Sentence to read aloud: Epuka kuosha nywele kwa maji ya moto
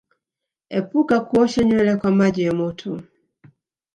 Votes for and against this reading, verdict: 1, 2, rejected